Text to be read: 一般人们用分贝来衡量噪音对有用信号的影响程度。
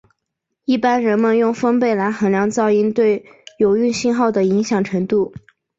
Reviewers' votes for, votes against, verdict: 2, 0, accepted